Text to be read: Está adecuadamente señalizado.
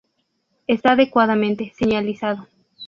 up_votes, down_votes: 2, 2